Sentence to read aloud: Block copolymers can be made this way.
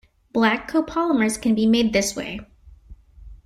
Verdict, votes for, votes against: rejected, 0, 2